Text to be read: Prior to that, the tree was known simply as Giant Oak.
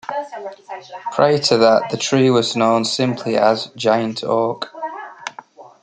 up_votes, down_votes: 2, 0